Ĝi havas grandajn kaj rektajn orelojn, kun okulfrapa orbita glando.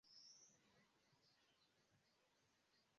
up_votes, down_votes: 0, 2